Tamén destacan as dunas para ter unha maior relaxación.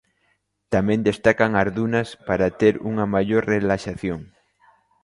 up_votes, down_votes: 2, 0